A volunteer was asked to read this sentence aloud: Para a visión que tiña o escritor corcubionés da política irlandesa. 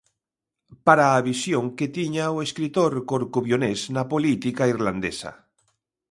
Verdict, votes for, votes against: rejected, 0, 2